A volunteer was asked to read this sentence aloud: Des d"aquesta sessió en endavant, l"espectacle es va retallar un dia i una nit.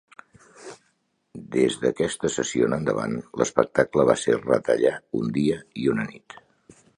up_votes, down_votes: 1, 2